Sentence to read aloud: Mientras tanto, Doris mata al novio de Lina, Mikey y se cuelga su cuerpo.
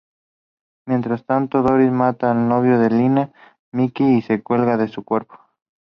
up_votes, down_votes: 2, 0